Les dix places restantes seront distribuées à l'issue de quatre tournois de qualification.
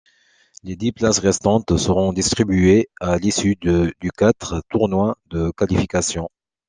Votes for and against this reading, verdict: 0, 2, rejected